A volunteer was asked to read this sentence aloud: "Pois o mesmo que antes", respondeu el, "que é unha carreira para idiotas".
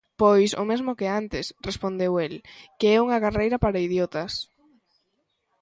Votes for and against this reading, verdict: 2, 1, accepted